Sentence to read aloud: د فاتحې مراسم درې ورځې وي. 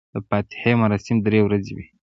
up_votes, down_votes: 2, 0